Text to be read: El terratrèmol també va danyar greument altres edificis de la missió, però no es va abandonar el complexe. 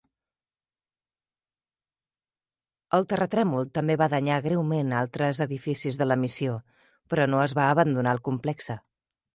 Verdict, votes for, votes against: accepted, 2, 0